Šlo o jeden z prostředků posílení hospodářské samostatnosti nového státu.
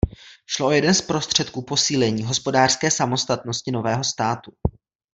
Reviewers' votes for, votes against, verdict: 2, 0, accepted